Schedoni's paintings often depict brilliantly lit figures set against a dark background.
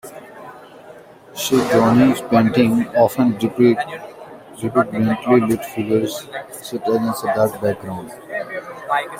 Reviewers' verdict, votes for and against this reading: rejected, 1, 2